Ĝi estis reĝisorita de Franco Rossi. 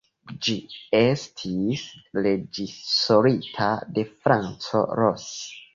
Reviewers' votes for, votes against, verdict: 2, 1, accepted